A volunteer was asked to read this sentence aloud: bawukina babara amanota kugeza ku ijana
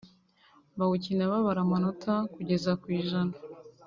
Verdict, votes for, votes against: accepted, 2, 0